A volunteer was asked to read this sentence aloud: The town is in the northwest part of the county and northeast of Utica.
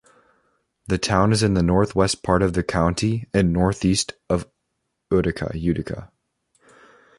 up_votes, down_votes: 1, 2